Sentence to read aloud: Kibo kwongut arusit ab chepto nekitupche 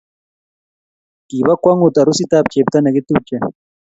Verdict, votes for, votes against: rejected, 1, 2